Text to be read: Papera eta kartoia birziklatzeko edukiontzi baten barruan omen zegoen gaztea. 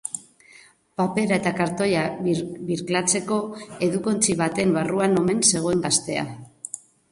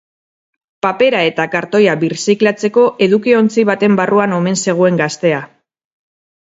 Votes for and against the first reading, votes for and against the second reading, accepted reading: 0, 2, 4, 0, second